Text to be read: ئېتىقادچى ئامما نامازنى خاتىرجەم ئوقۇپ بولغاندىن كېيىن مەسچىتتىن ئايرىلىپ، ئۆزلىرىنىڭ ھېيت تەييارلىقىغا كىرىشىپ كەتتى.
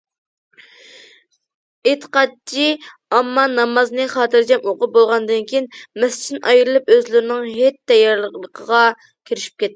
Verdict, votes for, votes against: rejected, 1, 2